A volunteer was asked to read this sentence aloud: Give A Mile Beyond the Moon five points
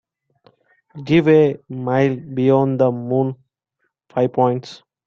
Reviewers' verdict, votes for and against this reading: accepted, 2, 1